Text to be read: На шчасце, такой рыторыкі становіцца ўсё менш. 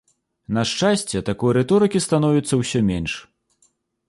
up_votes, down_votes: 2, 0